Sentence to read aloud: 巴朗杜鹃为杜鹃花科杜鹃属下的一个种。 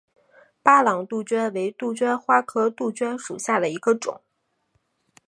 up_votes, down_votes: 4, 0